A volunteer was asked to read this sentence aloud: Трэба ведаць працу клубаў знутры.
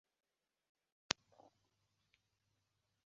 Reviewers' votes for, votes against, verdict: 0, 2, rejected